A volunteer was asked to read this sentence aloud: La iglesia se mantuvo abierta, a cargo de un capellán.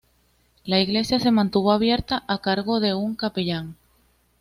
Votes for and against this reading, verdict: 2, 1, accepted